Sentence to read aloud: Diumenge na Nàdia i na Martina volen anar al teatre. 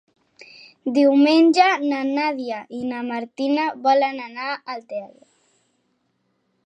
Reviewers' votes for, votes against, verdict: 2, 0, accepted